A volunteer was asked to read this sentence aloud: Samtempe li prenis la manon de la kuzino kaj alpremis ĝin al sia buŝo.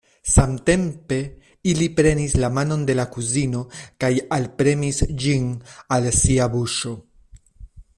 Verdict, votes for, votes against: rejected, 0, 2